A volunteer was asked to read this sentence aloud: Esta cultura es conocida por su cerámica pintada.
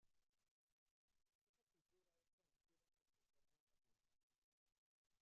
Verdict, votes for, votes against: rejected, 0, 2